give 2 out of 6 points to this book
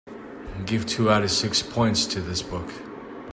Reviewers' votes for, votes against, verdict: 0, 2, rejected